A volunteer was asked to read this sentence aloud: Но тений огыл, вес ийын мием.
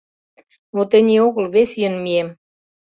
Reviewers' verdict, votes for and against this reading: accepted, 2, 0